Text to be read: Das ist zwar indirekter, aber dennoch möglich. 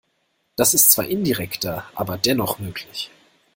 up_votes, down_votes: 2, 0